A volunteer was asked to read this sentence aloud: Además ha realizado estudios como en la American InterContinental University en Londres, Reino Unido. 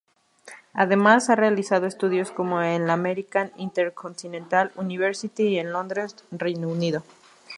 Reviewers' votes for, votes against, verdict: 2, 2, rejected